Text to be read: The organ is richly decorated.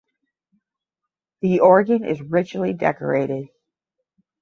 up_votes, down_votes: 10, 0